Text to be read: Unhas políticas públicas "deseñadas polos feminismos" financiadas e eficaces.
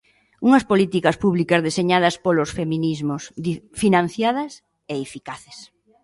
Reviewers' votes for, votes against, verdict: 2, 0, accepted